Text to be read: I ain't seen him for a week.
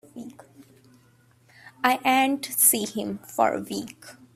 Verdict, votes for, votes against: rejected, 1, 2